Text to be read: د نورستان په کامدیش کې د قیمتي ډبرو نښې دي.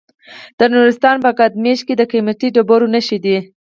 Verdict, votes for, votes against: accepted, 4, 0